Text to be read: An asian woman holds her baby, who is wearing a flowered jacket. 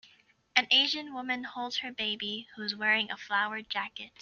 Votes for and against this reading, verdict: 2, 0, accepted